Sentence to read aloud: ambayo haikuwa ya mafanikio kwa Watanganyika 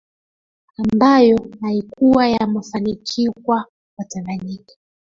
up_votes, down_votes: 1, 2